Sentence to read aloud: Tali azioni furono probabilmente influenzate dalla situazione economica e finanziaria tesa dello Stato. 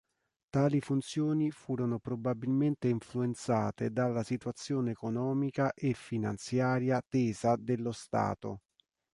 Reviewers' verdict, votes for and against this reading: rejected, 1, 2